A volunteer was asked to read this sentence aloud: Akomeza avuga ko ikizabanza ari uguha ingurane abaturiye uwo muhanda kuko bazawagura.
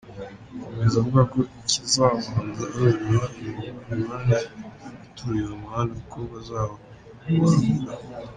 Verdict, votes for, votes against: rejected, 0, 2